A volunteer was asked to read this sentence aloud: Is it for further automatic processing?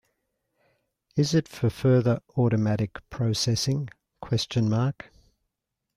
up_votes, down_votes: 0, 3